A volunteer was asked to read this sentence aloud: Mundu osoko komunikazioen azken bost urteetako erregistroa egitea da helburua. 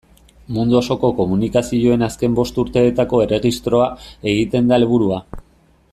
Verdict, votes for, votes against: rejected, 0, 2